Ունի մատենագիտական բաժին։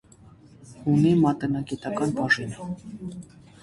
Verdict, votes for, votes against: rejected, 0, 2